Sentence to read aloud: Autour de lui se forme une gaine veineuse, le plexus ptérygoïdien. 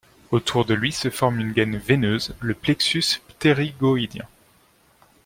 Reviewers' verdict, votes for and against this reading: accepted, 2, 0